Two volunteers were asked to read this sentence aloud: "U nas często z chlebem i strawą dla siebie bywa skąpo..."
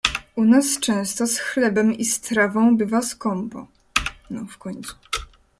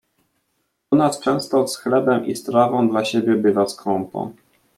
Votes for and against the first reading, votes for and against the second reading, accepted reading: 0, 2, 2, 0, second